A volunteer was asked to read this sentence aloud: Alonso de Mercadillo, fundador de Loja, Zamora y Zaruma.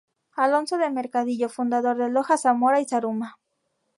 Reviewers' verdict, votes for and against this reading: accepted, 4, 0